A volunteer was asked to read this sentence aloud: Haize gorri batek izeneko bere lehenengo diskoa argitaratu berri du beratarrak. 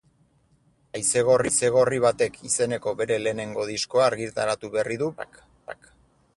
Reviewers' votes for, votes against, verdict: 0, 6, rejected